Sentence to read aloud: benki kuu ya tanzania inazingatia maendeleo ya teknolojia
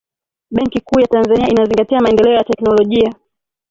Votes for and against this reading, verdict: 0, 2, rejected